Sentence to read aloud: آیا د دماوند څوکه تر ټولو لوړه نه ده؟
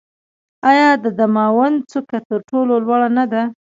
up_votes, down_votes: 2, 0